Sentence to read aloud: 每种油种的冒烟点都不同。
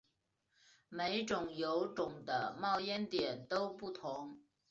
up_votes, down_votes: 3, 0